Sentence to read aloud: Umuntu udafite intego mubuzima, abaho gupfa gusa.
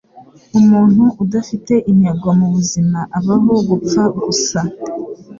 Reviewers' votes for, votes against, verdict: 2, 0, accepted